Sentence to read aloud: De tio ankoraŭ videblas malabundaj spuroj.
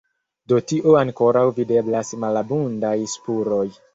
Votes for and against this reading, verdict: 1, 2, rejected